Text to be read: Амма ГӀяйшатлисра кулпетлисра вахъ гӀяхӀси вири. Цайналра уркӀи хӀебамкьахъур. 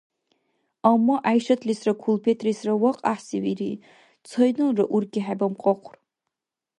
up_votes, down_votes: 2, 0